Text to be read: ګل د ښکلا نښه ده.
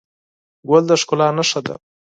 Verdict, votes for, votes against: accepted, 4, 0